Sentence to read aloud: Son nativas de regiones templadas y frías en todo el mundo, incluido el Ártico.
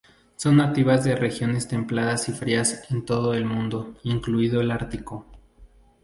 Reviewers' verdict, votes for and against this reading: accepted, 2, 0